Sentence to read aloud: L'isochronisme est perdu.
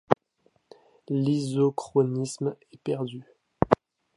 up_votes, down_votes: 2, 0